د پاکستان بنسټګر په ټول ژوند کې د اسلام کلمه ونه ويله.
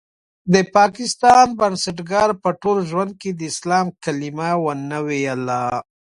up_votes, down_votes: 2, 0